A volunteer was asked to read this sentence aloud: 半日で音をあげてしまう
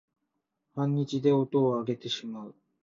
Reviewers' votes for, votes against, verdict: 1, 2, rejected